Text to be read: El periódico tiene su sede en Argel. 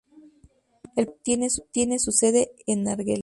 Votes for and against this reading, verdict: 0, 2, rejected